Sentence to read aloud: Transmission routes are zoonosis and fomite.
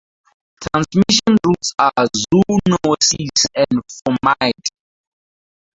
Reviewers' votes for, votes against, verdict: 0, 2, rejected